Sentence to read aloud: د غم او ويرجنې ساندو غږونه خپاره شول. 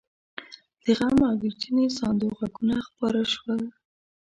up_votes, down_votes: 2, 0